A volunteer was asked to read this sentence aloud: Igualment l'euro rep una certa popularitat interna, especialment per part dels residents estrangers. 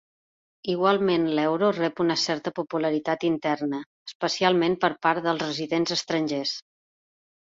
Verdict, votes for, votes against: accepted, 2, 0